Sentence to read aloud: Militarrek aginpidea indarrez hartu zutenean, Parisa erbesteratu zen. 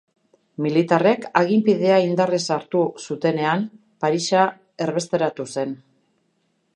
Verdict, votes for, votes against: accepted, 2, 0